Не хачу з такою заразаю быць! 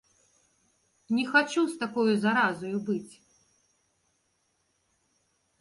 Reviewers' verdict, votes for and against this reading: rejected, 1, 2